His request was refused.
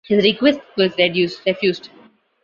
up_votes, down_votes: 1, 2